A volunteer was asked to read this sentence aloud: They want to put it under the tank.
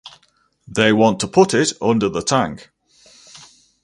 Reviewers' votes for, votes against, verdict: 2, 2, rejected